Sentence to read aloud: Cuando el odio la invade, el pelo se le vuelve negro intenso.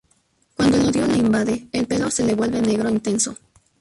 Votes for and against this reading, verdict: 0, 2, rejected